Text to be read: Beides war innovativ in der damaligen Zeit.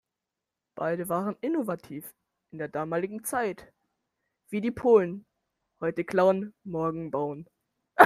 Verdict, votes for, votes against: rejected, 0, 2